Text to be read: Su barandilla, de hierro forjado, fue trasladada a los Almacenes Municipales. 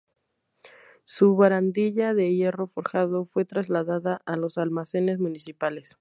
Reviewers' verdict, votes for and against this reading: rejected, 0, 2